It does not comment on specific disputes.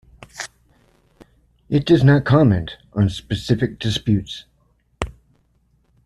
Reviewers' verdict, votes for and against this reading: accepted, 2, 0